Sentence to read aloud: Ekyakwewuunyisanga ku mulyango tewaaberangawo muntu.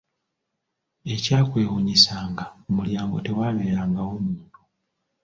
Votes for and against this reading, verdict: 2, 1, accepted